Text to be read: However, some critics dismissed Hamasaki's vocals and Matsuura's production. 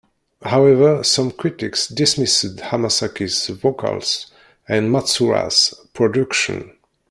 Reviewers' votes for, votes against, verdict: 0, 2, rejected